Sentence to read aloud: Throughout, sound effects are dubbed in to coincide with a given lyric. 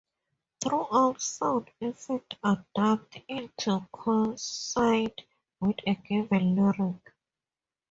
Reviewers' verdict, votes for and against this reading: rejected, 0, 2